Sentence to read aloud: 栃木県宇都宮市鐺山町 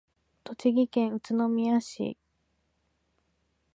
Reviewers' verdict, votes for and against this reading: rejected, 1, 2